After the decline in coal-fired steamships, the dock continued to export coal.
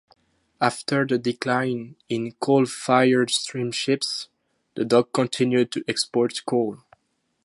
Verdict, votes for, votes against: accepted, 2, 0